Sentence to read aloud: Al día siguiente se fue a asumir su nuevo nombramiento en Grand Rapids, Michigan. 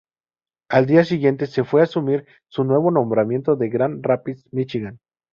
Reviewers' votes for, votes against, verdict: 0, 2, rejected